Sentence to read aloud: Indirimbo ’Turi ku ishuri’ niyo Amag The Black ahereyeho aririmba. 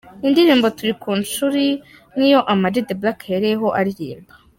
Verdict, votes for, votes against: rejected, 1, 2